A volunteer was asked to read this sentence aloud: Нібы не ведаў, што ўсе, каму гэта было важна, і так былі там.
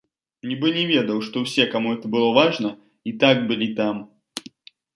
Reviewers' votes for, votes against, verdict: 0, 2, rejected